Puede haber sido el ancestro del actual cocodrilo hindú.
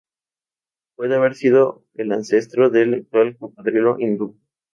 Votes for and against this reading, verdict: 0, 2, rejected